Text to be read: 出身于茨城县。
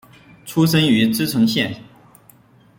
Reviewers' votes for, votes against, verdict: 1, 2, rejected